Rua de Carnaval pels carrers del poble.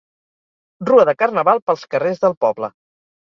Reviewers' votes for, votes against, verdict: 4, 0, accepted